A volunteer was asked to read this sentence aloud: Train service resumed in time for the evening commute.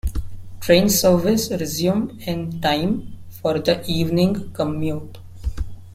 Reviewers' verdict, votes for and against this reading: accepted, 2, 0